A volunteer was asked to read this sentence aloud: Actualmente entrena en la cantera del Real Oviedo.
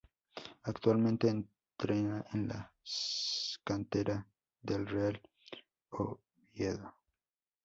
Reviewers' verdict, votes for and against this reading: rejected, 0, 2